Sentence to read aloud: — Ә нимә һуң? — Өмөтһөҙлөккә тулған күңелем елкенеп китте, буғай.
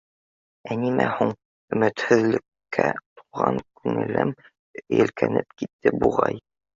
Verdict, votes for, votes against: rejected, 1, 2